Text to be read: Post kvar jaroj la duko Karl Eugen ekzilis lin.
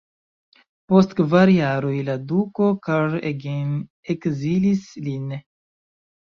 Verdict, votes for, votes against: rejected, 0, 2